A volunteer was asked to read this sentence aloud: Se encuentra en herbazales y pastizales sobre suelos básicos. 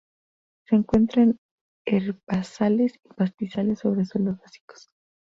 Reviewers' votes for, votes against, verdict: 0, 2, rejected